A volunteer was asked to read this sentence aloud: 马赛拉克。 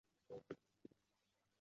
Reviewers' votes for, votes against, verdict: 0, 3, rejected